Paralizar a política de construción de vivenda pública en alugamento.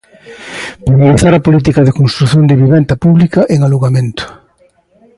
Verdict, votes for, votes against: accepted, 2, 1